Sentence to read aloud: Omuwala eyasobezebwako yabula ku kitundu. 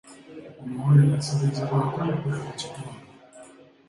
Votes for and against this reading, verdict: 1, 2, rejected